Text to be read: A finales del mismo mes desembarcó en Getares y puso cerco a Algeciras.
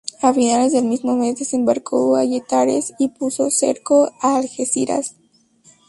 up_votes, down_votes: 2, 2